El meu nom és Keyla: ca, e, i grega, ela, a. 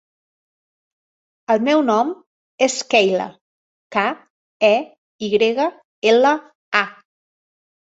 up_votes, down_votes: 2, 0